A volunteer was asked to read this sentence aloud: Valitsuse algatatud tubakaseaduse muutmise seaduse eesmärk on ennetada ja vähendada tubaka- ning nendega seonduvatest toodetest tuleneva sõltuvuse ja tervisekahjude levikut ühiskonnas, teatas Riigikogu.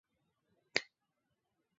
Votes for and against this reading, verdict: 0, 2, rejected